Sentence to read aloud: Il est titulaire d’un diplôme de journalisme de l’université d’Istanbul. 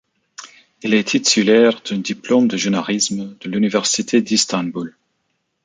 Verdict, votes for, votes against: rejected, 1, 2